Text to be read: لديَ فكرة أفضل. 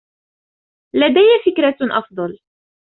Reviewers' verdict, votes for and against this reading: accepted, 2, 0